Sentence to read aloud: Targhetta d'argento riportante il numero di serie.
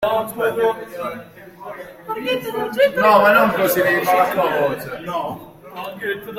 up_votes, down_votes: 0, 2